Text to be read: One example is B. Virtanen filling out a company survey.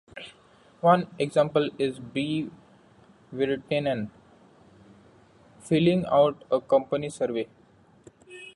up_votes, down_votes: 2, 0